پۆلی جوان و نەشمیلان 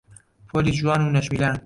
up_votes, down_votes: 1, 2